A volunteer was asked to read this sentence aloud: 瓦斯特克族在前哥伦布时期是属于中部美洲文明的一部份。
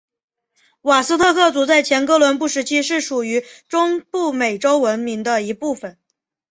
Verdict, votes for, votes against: accepted, 4, 0